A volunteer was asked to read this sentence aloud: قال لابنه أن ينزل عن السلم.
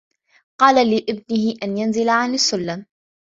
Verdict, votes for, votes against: accepted, 2, 0